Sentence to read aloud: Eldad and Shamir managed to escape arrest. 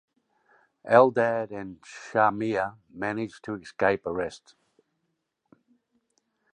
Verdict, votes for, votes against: accepted, 2, 0